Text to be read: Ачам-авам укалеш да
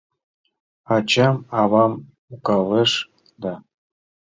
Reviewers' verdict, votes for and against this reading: rejected, 1, 3